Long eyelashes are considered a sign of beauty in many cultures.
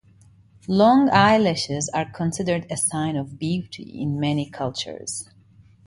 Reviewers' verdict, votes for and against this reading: accepted, 2, 0